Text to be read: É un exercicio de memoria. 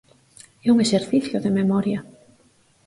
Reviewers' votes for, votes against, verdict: 4, 0, accepted